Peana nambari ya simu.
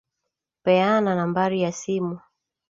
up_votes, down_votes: 2, 0